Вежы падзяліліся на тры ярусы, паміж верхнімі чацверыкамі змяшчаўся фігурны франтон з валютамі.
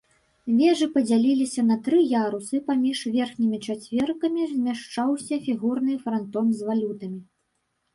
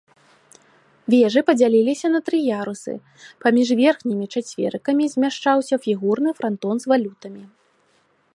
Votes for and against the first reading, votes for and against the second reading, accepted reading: 1, 2, 3, 0, second